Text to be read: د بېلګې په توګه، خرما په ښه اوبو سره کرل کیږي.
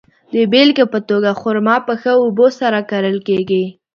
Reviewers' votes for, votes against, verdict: 2, 0, accepted